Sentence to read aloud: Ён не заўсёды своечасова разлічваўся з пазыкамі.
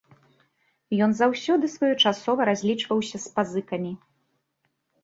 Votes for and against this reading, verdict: 0, 2, rejected